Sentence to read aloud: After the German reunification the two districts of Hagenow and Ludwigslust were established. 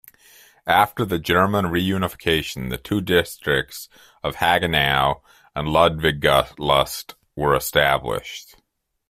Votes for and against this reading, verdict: 0, 2, rejected